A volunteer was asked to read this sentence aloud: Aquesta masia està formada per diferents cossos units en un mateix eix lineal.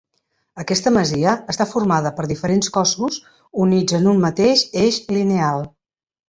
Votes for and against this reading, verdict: 2, 0, accepted